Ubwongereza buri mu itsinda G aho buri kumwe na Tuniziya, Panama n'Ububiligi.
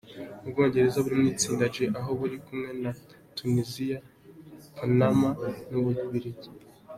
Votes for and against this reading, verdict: 2, 1, accepted